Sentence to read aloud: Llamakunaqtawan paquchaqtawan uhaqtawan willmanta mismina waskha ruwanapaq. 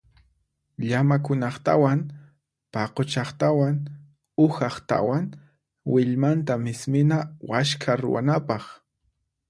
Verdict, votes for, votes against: accepted, 4, 0